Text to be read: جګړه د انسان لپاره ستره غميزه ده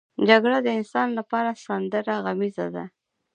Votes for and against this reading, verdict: 1, 2, rejected